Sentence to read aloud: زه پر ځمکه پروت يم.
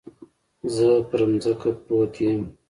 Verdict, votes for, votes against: accepted, 2, 0